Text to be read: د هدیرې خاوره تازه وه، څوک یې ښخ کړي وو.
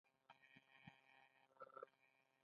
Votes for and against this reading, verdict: 1, 2, rejected